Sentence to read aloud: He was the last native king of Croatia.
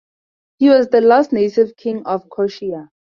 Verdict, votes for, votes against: accepted, 2, 0